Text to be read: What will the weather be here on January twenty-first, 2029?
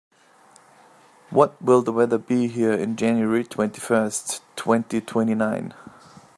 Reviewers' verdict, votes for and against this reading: rejected, 0, 2